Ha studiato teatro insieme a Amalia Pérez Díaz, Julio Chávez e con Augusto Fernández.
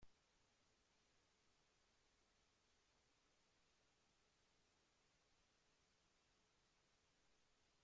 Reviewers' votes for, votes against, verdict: 0, 2, rejected